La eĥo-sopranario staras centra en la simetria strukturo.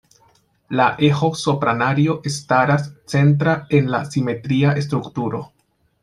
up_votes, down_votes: 0, 2